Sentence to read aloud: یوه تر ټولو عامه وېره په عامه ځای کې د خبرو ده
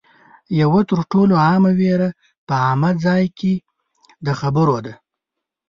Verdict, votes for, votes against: accepted, 2, 0